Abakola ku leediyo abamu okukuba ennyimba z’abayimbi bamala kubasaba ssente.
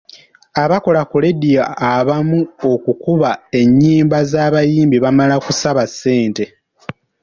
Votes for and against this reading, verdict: 1, 2, rejected